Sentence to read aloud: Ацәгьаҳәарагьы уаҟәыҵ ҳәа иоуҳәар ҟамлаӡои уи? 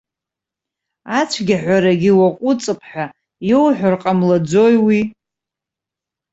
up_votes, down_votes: 1, 2